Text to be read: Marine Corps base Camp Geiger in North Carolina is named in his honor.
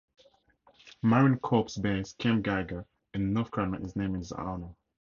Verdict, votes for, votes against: rejected, 2, 2